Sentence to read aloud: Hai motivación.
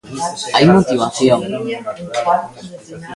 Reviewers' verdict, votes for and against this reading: rejected, 0, 2